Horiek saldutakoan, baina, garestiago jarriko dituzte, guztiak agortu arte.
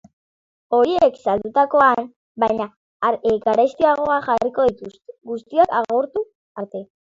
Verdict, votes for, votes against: rejected, 0, 2